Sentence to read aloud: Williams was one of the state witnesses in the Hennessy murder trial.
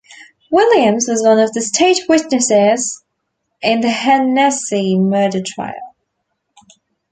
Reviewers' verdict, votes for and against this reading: rejected, 0, 2